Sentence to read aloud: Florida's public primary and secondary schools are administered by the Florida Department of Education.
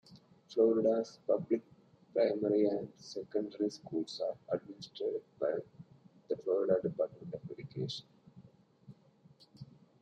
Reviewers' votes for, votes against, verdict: 0, 2, rejected